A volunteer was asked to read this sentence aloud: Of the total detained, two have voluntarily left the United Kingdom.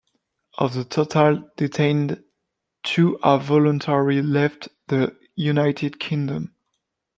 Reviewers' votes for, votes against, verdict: 0, 2, rejected